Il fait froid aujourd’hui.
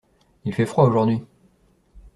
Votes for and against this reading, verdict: 2, 0, accepted